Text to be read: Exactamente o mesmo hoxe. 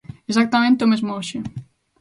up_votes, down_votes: 2, 0